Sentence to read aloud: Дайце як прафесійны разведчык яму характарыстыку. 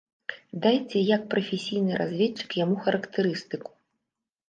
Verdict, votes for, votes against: rejected, 0, 2